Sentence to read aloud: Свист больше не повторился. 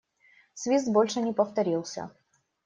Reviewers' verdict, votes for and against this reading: accepted, 2, 0